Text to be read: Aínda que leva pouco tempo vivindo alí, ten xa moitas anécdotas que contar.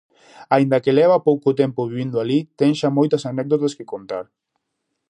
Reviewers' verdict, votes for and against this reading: accepted, 2, 0